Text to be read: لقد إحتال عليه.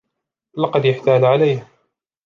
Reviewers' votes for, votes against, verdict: 2, 0, accepted